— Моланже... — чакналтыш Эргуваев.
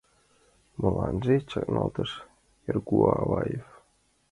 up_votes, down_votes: 2, 1